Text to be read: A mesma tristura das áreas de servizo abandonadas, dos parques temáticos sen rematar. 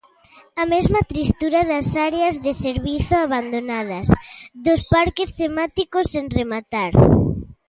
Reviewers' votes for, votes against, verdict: 2, 0, accepted